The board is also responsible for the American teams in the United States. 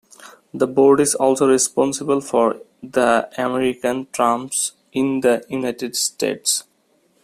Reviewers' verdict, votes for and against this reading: rejected, 0, 2